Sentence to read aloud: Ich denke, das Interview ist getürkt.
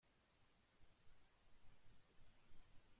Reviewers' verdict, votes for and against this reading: rejected, 0, 2